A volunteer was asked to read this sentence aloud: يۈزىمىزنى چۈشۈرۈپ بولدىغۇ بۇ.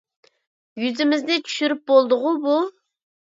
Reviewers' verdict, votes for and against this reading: accepted, 2, 0